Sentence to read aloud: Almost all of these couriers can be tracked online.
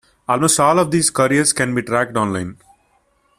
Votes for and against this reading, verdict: 2, 0, accepted